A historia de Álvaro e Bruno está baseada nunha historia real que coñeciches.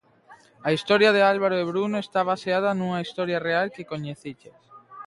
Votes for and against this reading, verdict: 2, 0, accepted